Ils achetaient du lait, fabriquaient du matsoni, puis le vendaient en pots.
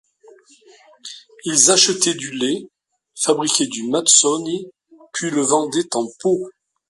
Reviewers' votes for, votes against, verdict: 2, 1, accepted